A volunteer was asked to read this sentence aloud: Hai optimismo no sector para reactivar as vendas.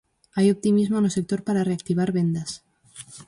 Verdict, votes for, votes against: rejected, 0, 4